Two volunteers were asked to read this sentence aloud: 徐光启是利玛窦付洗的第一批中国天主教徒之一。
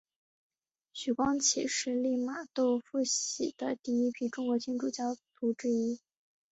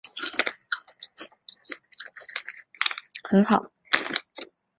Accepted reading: first